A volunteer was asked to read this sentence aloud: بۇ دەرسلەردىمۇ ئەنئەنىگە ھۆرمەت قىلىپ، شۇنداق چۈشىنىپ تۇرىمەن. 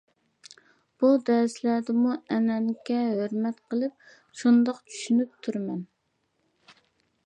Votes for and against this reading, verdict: 2, 0, accepted